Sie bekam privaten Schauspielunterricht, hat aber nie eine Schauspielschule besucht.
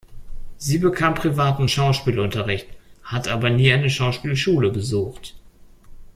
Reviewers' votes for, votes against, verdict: 2, 0, accepted